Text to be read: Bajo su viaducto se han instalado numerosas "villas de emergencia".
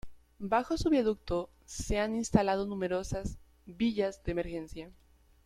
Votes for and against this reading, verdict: 2, 0, accepted